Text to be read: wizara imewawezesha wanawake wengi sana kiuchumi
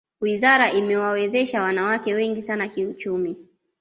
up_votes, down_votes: 2, 0